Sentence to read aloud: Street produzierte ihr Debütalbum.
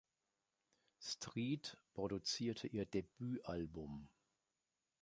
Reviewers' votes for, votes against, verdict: 3, 0, accepted